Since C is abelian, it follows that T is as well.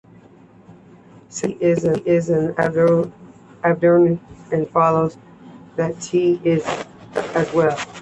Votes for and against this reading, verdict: 2, 0, accepted